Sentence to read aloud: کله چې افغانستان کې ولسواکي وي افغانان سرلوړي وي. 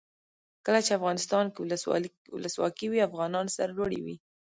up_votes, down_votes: 1, 2